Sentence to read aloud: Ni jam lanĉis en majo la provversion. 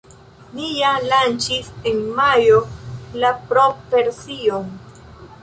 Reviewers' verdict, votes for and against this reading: rejected, 1, 2